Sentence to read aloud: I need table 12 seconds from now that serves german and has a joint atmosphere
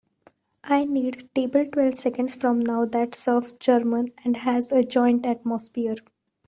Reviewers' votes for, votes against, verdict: 0, 2, rejected